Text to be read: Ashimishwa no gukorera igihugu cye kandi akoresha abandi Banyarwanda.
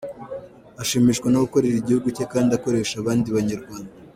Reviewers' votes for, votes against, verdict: 0, 2, rejected